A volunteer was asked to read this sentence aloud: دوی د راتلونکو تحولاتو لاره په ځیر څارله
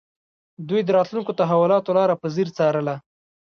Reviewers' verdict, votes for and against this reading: rejected, 1, 2